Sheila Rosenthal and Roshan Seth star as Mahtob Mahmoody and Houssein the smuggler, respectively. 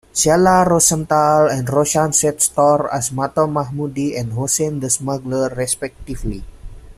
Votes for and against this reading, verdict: 0, 2, rejected